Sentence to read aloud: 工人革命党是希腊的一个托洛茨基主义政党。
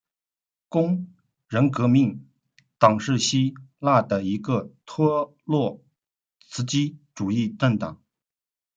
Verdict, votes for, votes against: rejected, 0, 2